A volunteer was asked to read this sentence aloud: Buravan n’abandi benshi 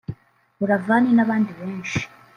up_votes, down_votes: 1, 2